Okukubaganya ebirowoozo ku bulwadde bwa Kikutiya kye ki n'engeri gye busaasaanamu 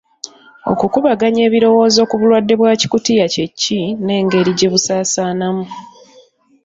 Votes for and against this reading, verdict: 3, 0, accepted